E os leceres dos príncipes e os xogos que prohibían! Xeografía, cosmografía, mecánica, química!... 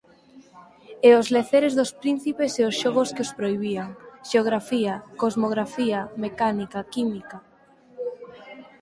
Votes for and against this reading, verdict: 0, 4, rejected